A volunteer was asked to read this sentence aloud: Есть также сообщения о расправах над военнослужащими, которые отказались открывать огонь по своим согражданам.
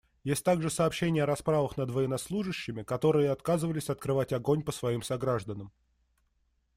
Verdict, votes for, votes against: rejected, 1, 2